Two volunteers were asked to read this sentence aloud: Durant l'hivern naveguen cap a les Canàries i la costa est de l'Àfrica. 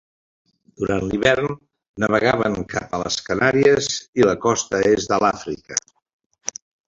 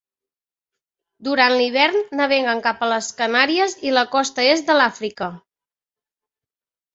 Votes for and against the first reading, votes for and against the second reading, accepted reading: 0, 2, 2, 0, second